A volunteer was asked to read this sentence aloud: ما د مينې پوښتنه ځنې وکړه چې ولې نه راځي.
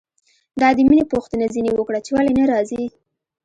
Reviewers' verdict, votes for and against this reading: accepted, 2, 0